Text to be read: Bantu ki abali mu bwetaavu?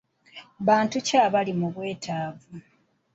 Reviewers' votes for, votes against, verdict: 2, 0, accepted